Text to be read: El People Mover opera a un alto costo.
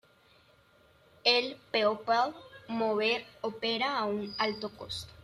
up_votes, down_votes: 1, 2